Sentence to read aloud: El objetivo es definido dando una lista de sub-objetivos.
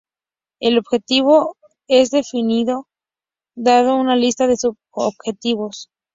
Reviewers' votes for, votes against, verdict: 0, 2, rejected